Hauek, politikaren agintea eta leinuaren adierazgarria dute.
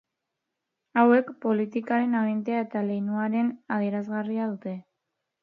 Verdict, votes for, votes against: rejected, 0, 2